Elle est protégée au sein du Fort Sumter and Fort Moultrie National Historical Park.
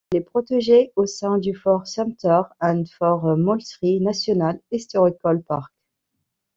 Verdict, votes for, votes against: rejected, 1, 2